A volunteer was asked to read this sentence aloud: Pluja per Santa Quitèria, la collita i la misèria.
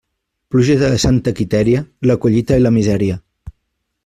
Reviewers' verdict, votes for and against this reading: rejected, 0, 2